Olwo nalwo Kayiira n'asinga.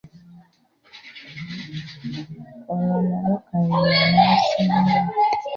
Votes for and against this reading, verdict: 0, 2, rejected